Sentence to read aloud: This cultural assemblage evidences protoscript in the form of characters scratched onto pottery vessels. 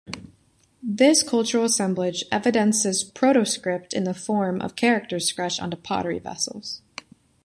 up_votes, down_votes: 2, 1